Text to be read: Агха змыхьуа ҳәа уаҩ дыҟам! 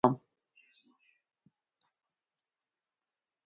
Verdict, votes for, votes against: rejected, 0, 2